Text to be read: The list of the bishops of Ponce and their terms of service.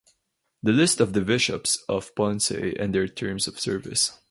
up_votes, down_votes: 4, 0